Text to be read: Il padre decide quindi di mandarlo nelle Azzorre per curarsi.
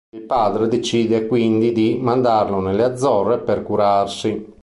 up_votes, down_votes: 2, 0